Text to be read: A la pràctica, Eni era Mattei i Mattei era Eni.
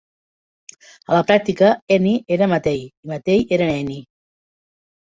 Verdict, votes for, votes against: rejected, 0, 2